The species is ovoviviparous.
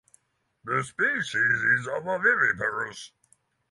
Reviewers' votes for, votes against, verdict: 3, 3, rejected